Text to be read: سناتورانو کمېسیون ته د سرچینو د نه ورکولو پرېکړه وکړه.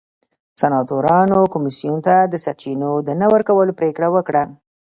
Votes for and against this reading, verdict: 0, 2, rejected